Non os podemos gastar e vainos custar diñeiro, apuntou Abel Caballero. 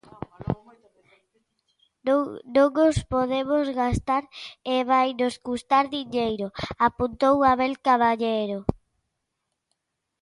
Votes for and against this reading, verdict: 0, 2, rejected